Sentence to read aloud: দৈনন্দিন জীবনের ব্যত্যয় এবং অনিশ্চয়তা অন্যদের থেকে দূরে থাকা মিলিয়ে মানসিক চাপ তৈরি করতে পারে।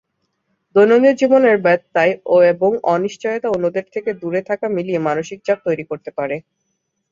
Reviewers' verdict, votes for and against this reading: accepted, 6, 1